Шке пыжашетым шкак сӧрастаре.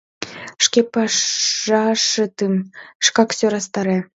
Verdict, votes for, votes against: rejected, 0, 2